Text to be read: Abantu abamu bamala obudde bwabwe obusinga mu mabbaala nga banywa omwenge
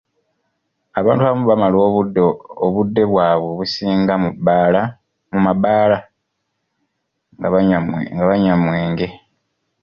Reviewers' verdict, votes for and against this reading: rejected, 0, 2